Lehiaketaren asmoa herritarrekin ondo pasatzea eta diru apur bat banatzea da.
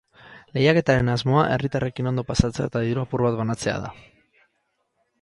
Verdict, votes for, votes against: accepted, 4, 0